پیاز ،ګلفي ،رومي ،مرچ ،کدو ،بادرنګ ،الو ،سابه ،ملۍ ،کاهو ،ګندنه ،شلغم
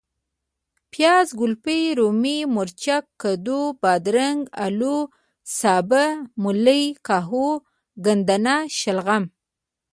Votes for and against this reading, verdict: 1, 2, rejected